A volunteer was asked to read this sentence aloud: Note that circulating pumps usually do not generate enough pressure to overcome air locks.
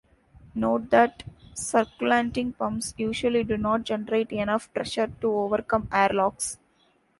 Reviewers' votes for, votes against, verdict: 0, 2, rejected